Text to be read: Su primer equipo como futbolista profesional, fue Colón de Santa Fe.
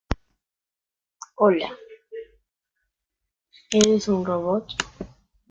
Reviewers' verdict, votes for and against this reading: rejected, 0, 2